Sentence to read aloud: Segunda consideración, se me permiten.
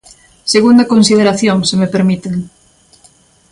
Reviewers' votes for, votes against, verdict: 2, 0, accepted